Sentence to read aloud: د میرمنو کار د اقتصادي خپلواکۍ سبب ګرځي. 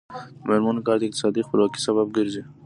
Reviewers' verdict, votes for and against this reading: accepted, 2, 0